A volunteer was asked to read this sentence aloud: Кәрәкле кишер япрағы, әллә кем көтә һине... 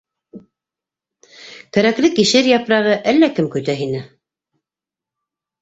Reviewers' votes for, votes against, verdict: 2, 0, accepted